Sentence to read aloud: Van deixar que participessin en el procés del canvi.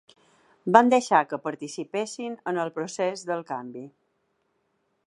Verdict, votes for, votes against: accepted, 3, 0